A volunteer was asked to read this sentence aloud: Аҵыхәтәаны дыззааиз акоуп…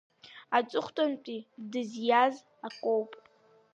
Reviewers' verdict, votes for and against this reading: rejected, 0, 2